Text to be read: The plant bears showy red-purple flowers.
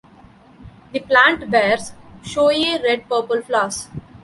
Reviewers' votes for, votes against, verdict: 0, 2, rejected